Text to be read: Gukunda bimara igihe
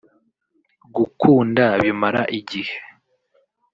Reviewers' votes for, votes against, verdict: 1, 2, rejected